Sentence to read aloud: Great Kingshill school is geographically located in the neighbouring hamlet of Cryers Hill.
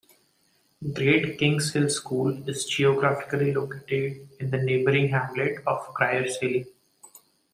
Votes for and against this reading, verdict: 2, 0, accepted